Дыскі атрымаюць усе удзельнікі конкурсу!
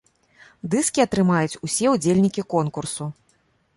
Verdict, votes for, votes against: accepted, 2, 0